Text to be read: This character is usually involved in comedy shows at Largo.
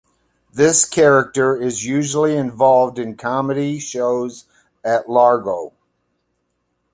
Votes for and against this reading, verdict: 2, 0, accepted